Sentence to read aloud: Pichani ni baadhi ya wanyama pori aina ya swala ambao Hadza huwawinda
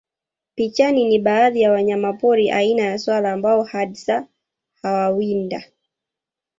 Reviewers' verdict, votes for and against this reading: rejected, 0, 2